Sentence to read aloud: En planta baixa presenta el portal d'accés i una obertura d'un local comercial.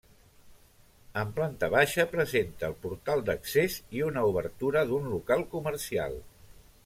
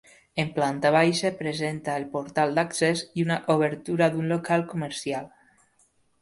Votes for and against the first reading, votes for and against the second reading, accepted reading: 0, 2, 3, 0, second